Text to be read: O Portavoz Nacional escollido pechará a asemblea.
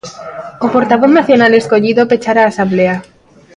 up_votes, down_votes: 0, 2